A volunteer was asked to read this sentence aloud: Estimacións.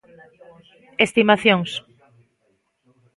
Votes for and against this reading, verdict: 2, 0, accepted